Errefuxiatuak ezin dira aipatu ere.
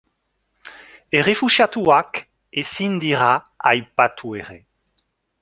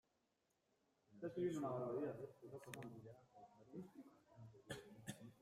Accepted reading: first